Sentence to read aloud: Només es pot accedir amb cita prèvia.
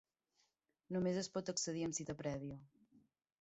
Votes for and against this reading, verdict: 3, 1, accepted